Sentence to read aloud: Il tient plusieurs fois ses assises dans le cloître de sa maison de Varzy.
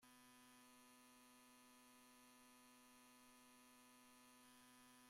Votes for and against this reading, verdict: 0, 2, rejected